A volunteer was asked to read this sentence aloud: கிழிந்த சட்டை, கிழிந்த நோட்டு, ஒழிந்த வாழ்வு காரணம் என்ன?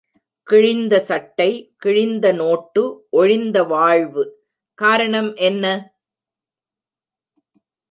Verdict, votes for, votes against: rejected, 0, 2